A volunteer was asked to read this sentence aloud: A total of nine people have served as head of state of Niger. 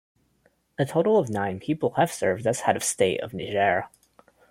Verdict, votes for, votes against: rejected, 1, 2